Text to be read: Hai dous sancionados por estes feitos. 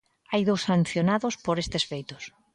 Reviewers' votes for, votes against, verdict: 2, 0, accepted